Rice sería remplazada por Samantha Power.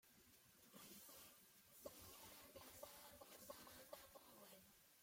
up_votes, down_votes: 0, 2